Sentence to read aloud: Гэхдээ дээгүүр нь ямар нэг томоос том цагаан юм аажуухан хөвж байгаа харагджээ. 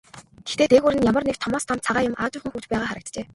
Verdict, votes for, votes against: rejected, 1, 2